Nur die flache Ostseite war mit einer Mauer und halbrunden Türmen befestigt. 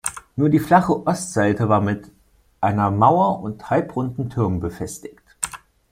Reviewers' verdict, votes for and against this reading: accepted, 2, 0